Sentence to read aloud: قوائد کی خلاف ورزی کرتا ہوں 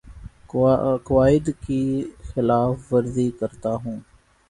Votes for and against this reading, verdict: 1, 2, rejected